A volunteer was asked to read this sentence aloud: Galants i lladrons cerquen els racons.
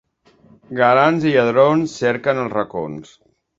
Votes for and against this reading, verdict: 2, 0, accepted